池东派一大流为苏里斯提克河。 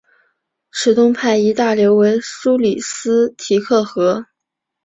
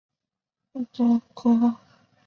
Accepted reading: first